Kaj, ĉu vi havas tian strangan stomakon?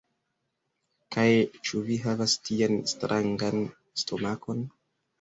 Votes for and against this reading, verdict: 1, 2, rejected